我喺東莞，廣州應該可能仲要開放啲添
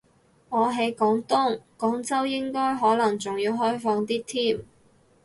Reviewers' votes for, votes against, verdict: 0, 4, rejected